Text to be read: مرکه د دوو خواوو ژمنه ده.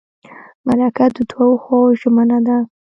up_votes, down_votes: 1, 2